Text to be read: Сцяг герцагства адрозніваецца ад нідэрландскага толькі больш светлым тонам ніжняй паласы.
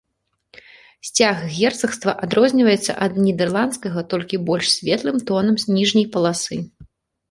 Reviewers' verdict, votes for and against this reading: rejected, 0, 2